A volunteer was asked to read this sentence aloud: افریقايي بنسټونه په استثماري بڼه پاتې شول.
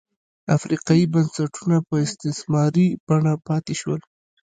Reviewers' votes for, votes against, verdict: 0, 2, rejected